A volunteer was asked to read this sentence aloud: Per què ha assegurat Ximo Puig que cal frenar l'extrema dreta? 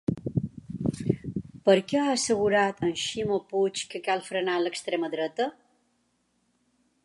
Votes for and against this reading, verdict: 1, 2, rejected